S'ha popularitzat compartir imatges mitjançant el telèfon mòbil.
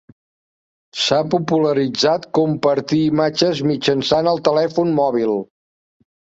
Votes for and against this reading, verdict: 3, 0, accepted